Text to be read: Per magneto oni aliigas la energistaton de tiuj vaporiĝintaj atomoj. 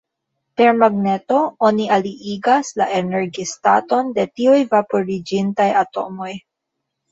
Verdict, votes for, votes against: rejected, 1, 2